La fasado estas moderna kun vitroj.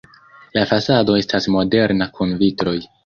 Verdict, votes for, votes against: accepted, 2, 0